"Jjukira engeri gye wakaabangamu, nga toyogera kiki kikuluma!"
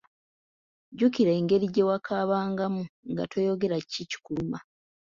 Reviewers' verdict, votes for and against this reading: rejected, 1, 2